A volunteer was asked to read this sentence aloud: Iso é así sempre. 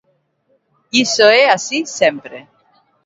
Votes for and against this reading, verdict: 1, 2, rejected